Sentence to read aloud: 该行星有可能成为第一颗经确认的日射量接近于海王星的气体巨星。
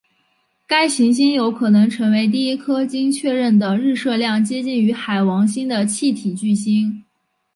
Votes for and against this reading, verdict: 5, 1, accepted